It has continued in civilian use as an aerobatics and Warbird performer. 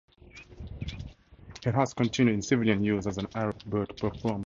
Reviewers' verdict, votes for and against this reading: rejected, 2, 4